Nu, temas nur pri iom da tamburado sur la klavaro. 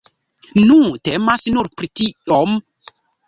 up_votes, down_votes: 1, 2